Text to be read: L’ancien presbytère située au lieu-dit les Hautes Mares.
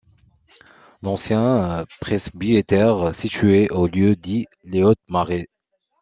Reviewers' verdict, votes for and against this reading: rejected, 0, 2